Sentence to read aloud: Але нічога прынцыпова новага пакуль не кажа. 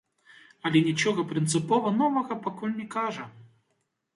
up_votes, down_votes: 1, 2